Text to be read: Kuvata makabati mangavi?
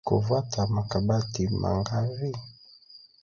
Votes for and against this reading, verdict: 1, 2, rejected